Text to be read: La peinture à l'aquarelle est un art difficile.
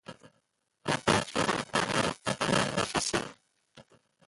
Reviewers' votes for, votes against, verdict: 1, 2, rejected